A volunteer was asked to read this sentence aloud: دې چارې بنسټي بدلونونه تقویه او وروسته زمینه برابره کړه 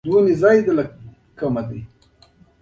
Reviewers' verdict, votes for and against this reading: rejected, 0, 2